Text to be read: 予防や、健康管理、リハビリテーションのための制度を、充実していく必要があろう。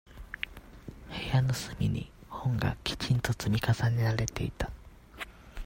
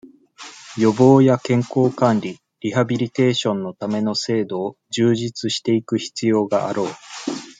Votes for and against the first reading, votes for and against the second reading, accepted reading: 0, 2, 2, 0, second